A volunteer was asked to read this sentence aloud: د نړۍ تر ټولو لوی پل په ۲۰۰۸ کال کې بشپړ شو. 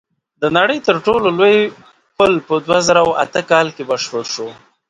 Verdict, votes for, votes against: rejected, 0, 2